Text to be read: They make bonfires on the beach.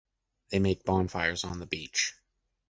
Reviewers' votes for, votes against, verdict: 2, 0, accepted